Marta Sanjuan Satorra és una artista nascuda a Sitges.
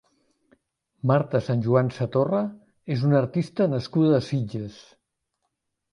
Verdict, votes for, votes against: rejected, 1, 2